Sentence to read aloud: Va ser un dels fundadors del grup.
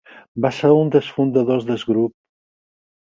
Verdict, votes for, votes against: rejected, 0, 4